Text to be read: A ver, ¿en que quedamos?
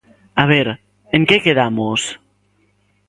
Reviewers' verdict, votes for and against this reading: accepted, 2, 0